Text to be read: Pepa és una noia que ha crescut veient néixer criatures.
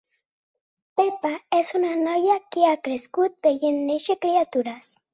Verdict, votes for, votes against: accepted, 2, 0